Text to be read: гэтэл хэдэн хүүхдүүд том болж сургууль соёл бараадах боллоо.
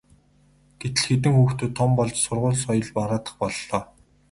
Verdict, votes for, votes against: rejected, 2, 2